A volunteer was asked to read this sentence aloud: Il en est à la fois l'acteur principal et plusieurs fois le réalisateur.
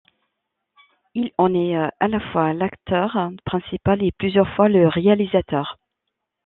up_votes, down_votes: 1, 2